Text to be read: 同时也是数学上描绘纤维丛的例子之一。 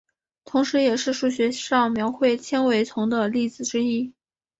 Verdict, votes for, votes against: accepted, 3, 0